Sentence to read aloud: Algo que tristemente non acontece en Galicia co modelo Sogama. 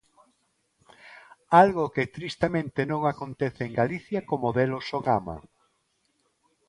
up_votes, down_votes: 2, 0